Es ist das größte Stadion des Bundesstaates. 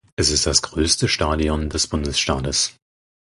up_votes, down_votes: 2, 4